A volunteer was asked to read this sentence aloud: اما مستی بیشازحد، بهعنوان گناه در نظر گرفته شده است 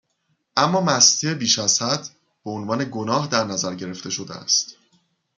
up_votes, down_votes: 2, 0